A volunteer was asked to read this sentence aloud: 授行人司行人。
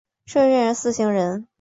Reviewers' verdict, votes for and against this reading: accepted, 4, 1